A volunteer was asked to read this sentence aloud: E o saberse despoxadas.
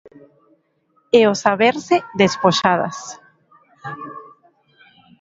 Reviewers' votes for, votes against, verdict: 2, 1, accepted